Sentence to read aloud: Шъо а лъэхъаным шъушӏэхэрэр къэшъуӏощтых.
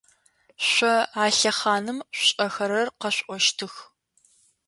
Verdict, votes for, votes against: accepted, 2, 0